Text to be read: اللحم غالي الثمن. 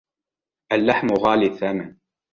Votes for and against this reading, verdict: 2, 0, accepted